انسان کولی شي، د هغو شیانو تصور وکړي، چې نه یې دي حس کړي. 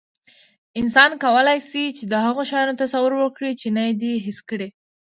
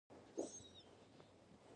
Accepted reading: first